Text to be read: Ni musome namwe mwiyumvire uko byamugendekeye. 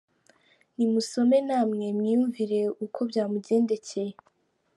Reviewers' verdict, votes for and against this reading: accepted, 2, 0